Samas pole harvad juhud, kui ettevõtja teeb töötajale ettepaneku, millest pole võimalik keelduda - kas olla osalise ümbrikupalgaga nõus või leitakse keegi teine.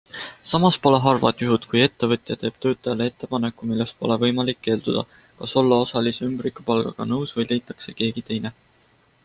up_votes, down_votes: 2, 0